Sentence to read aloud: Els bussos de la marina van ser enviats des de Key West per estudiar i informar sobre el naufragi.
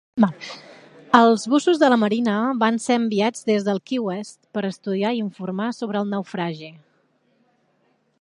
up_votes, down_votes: 1, 3